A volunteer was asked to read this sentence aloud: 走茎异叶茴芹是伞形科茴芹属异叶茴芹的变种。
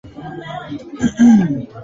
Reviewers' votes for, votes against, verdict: 1, 2, rejected